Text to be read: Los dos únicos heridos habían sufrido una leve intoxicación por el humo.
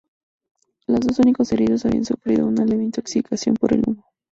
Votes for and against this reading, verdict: 4, 0, accepted